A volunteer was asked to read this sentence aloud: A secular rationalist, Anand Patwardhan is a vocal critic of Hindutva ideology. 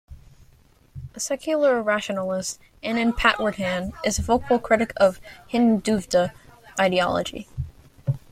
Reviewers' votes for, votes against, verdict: 1, 2, rejected